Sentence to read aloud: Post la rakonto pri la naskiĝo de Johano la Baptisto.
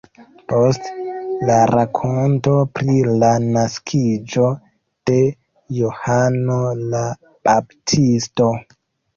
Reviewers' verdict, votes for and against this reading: accepted, 2, 0